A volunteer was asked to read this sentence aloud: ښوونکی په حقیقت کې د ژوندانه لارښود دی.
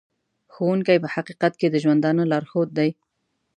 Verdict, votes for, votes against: accepted, 2, 0